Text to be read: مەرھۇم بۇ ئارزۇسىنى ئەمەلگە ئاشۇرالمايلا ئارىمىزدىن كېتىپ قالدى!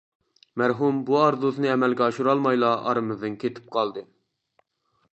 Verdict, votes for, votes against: accepted, 2, 0